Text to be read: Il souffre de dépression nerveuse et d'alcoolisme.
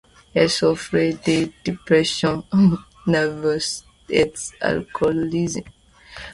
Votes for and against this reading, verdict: 0, 2, rejected